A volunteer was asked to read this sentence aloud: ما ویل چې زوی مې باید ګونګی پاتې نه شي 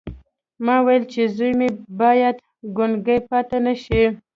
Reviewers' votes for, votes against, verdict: 1, 2, rejected